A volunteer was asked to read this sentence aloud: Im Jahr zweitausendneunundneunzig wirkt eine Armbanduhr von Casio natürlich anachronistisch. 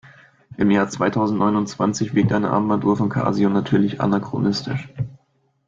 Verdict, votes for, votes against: rejected, 1, 2